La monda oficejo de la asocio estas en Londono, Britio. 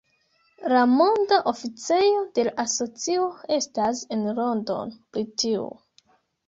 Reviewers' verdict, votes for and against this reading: rejected, 1, 2